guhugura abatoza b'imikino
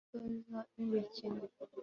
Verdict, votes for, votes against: accepted, 2, 1